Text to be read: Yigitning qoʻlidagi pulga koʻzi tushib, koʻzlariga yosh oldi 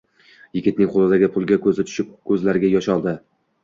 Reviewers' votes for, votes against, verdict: 2, 0, accepted